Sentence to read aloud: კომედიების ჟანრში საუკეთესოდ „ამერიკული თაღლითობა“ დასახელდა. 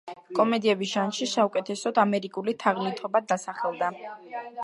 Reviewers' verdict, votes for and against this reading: accepted, 2, 0